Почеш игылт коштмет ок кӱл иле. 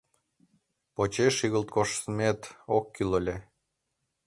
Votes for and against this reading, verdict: 1, 2, rejected